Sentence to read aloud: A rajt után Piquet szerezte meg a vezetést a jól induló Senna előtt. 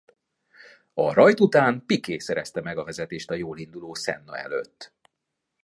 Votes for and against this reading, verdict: 2, 0, accepted